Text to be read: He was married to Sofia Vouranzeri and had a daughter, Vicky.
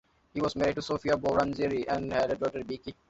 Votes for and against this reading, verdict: 2, 1, accepted